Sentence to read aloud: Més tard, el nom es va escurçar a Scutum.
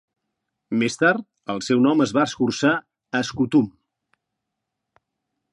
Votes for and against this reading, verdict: 1, 4, rejected